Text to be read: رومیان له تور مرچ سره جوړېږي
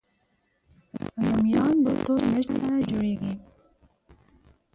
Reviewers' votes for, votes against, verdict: 2, 4, rejected